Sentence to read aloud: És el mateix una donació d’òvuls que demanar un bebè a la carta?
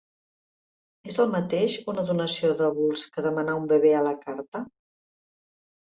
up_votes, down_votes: 5, 0